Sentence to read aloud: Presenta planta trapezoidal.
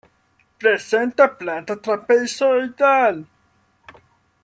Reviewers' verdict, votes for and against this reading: accepted, 2, 0